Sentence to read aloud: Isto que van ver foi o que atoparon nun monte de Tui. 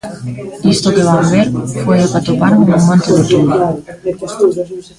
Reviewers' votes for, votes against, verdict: 0, 2, rejected